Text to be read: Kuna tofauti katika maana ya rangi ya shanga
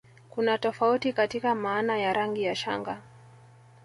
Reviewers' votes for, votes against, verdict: 1, 2, rejected